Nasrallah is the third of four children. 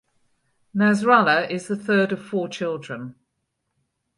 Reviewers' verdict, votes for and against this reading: accepted, 4, 0